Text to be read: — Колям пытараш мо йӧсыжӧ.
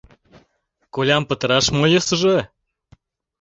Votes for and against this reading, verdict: 2, 0, accepted